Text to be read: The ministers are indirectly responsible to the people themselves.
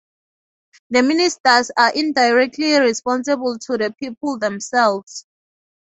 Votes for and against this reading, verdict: 2, 0, accepted